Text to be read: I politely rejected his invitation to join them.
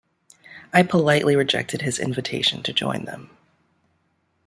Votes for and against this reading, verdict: 2, 0, accepted